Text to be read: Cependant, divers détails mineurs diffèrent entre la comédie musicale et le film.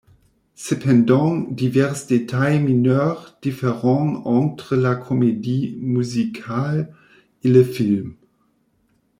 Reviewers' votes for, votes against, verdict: 1, 2, rejected